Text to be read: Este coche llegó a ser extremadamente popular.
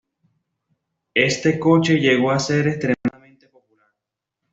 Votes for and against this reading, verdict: 2, 0, accepted